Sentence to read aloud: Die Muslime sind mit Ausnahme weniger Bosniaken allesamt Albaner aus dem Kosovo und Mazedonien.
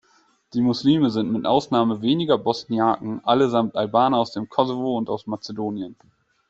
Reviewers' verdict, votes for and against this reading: rejected, 1, 2